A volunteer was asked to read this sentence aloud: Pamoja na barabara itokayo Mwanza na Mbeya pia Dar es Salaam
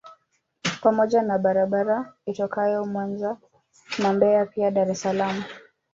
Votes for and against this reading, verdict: 1, 2, rejected